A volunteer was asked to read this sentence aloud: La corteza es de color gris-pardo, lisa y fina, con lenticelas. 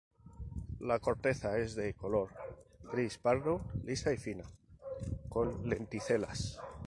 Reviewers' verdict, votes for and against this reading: rejected, 0, 2